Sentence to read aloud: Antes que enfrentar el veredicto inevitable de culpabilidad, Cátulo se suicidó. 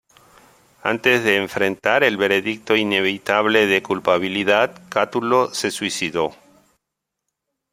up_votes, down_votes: 1, 2